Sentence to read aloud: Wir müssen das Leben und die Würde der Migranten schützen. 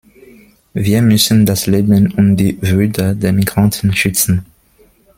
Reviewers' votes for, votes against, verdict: 2, 0, accepted